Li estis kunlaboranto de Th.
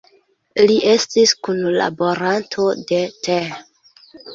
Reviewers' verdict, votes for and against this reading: accepted, 2, 0